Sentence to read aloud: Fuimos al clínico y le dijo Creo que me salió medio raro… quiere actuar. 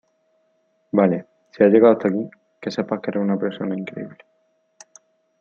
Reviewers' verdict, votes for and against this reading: rejected, 0, 2